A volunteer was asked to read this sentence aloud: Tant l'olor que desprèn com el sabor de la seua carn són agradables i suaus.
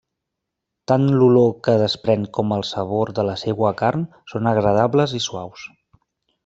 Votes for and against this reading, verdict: 1, 2, rejected